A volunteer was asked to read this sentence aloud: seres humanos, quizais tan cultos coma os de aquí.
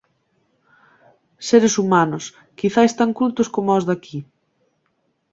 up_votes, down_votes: 2, 0